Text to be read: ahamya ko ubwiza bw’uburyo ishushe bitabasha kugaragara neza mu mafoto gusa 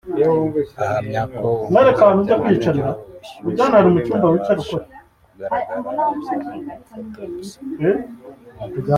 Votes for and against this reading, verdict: 1, 2, rejected